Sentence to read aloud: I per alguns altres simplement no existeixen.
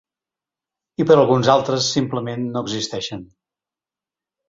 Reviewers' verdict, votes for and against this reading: accepted, 4, 0